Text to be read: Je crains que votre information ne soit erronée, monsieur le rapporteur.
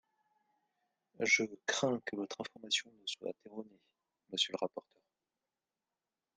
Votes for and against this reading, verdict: 1, 2, rejected